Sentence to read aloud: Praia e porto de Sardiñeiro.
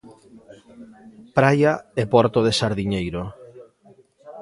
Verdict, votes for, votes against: accepted, 2, 1